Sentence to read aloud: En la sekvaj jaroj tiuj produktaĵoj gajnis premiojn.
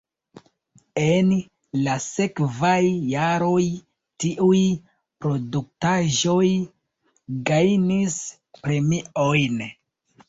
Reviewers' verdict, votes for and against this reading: rejected, 0, 2